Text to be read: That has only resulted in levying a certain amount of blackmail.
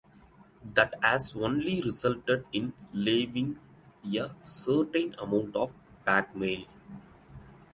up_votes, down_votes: 1, 2